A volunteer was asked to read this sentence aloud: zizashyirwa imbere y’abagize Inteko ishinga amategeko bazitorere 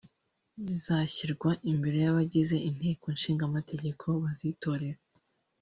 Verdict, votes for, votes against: rejected, 0, 2